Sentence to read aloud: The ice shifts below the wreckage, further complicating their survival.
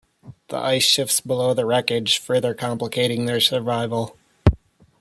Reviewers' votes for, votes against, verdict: 2, 0, accepted